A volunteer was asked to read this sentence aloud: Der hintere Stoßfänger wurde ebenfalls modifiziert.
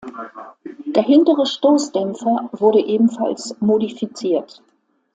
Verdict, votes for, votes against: rejected, 1, 2